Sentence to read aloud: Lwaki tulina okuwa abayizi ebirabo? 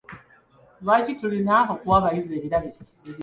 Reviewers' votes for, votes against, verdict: 1, 2, rejected